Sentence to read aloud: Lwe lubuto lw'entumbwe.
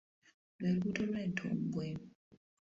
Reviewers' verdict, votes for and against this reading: rejected, 1, 2